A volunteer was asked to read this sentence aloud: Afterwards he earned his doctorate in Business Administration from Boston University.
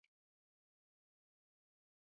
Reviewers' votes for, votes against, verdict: 0, 2, rejected